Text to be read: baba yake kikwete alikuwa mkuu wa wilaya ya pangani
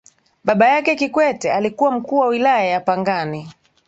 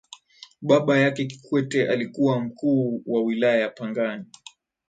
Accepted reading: second